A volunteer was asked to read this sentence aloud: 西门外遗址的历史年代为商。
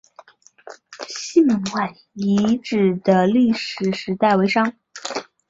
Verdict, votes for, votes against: rejected, 0, 4